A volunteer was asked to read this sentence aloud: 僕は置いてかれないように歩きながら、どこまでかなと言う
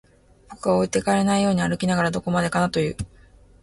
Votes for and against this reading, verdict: 2, 0, accepted